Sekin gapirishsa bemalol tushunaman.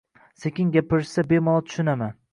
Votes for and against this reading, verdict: 2, 1, accepted